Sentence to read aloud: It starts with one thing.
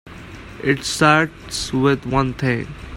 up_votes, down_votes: 2, 3